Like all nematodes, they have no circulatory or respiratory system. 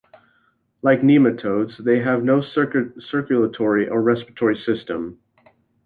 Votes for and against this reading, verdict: 0, 2, rejected